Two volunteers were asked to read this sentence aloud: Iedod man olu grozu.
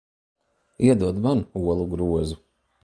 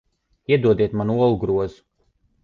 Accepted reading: first